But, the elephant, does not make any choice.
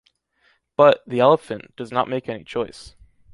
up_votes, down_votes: 2, 0